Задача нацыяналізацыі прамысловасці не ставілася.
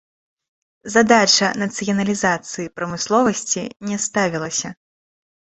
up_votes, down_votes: 2, 0